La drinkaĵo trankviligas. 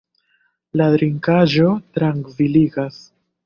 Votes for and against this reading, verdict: 0, 2, rejected